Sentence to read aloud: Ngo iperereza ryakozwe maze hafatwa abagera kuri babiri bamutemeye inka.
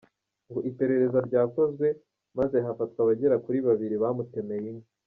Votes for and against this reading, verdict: 1, 2, rejected